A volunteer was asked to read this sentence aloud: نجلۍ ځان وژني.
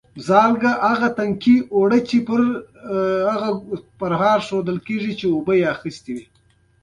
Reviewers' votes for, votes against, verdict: 1, 2, rejected